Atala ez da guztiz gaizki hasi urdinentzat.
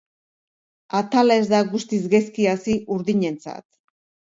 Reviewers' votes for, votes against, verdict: 3, 0, accepted